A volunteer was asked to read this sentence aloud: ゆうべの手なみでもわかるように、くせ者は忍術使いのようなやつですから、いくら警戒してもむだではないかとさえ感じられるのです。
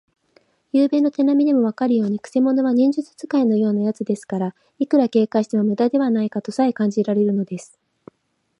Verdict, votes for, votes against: accepted, 2, 0